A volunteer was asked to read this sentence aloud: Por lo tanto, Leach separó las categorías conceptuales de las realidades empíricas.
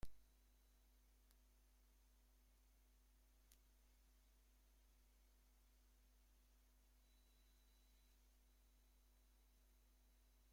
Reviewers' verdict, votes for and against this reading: rejected, 0, 2